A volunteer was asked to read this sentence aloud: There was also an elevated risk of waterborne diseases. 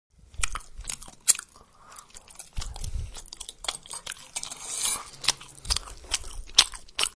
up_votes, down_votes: 0, 2